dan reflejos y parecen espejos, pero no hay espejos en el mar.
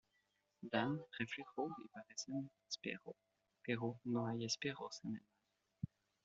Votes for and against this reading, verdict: 1, 2, rejected